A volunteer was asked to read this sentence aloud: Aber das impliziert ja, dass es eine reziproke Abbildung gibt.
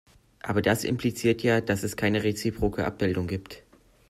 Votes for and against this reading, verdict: 0, 2, rejected